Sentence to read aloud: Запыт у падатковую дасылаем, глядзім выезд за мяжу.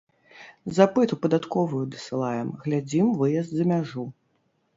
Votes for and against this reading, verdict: 0, 2, rejected